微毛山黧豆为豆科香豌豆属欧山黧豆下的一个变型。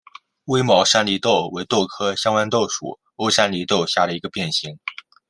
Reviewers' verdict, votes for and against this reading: accepted, 2, 0